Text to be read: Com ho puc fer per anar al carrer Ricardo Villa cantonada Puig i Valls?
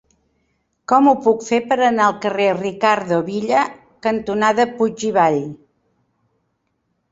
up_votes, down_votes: 2, 3